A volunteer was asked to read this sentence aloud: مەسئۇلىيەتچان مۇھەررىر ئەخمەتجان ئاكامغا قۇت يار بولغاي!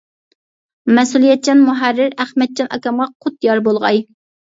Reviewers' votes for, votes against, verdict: 2, 0, accepted